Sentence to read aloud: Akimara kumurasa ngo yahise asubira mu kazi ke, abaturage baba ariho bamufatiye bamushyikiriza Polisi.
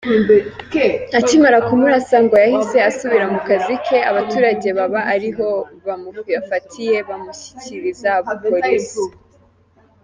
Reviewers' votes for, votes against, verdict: 2, 1, accepted